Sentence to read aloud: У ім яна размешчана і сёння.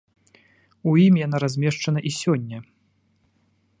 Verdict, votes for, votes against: accepted, 2, 0